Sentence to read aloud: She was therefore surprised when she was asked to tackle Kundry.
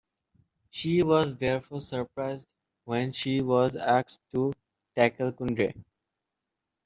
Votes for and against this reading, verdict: 2, 0, accepted